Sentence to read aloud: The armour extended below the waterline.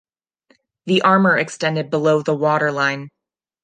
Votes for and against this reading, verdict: 2, 0, accepted